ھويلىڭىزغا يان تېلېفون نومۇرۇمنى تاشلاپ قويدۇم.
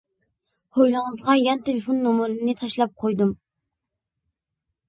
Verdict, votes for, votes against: accepted, 2, 1